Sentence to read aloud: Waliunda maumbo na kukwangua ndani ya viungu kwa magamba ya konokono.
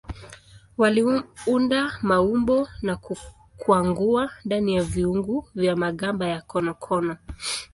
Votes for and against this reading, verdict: 1, 2, rejected